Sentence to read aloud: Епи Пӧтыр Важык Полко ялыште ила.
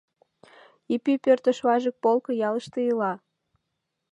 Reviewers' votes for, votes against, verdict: 0, 2, rejected